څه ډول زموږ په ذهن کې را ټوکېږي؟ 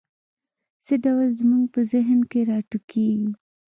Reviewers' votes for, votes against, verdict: 0, 2, rejected